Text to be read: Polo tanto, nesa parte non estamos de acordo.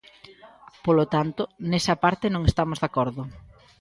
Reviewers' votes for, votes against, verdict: 2, 0, accepted